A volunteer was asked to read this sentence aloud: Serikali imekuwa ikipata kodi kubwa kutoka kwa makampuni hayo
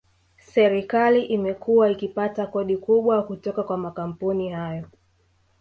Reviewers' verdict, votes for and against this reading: rejected, 0, 2